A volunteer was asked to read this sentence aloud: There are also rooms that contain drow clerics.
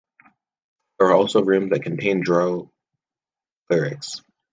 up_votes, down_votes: 0, 2